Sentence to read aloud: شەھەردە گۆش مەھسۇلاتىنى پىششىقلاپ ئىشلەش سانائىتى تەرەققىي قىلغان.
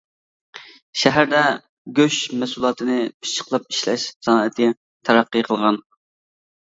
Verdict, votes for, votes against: accepted, 2, 0